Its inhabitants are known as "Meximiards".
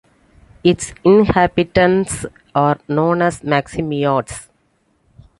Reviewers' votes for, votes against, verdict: 2, 0, accepted